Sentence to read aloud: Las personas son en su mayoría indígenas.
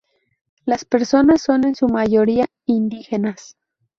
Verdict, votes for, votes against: rejected, 2, 2